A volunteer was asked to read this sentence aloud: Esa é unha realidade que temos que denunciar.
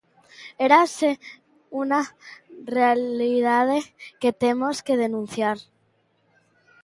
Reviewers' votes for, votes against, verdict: 0, 2, rejected